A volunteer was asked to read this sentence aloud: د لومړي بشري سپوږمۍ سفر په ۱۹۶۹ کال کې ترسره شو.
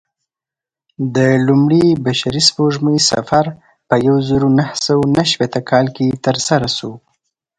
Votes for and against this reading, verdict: 0, 2, rejected